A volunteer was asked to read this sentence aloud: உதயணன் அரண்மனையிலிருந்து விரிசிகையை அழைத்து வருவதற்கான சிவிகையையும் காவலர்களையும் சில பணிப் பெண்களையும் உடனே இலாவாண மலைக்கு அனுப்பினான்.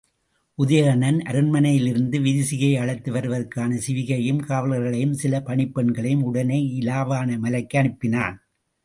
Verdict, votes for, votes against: accepted, 2, 0